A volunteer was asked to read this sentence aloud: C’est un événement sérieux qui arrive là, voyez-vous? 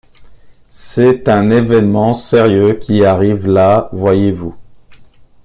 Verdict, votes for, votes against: rejected, 1, 2